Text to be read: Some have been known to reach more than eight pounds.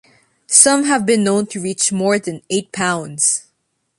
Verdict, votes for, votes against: accepted, 2, 0